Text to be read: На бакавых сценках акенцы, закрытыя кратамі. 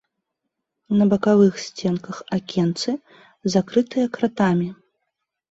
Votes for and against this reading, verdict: 0, 2, rejected